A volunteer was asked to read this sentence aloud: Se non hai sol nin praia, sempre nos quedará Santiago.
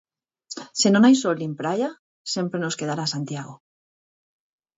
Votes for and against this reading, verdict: 4, 0, accepted